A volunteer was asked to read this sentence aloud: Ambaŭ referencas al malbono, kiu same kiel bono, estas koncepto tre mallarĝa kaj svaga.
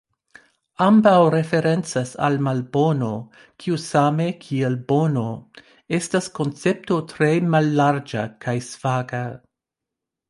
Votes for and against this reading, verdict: 2, 0, accepted